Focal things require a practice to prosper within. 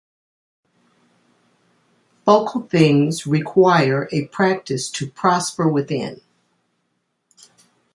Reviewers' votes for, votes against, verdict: 2, 0, accepted